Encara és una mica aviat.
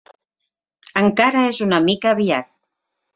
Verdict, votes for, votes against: accepted, 3, 0